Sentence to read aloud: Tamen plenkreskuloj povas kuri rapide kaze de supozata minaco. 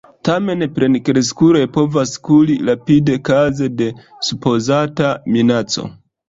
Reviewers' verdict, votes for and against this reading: accepted, 2, 0